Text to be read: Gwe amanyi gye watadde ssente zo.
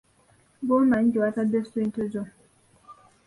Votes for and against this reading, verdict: 1, 2, rejected